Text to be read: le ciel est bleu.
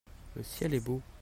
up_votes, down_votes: 0, 2